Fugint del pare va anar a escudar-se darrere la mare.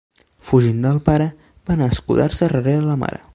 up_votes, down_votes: 1, 2